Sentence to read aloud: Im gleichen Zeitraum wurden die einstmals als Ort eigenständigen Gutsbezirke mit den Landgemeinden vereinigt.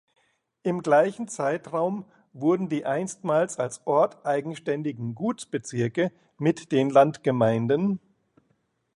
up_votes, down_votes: 0, 2